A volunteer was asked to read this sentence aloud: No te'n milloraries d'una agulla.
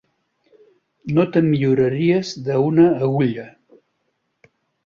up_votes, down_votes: 1, 3